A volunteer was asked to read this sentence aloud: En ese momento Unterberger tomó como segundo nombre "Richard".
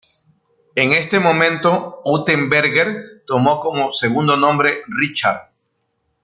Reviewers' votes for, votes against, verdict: 0, 2, rejected